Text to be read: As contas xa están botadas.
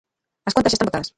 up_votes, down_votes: 0, 2